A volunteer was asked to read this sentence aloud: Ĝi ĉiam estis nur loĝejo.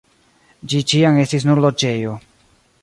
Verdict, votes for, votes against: accepted, 2, 0